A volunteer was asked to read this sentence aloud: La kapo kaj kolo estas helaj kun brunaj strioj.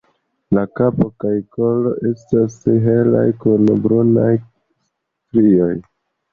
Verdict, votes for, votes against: accepted, 2, 0